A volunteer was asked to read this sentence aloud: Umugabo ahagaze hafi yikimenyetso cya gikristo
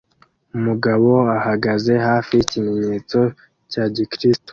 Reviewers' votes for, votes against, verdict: 2, 0, accepted